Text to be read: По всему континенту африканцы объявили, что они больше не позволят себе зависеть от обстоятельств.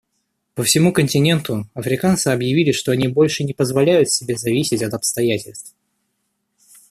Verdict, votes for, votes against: rejected, 1, 2